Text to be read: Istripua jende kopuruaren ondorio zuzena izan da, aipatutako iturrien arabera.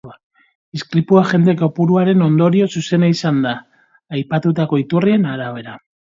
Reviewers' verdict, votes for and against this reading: rejected, 2, 2